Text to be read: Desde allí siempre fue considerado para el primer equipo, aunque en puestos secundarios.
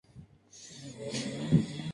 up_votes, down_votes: 0, 2